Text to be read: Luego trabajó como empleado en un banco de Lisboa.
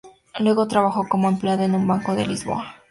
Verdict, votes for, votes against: accepted, 2, 0